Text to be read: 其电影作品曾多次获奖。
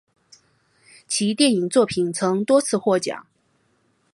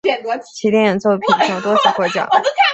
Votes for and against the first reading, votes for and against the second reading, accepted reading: 2, 0, 2, 3, first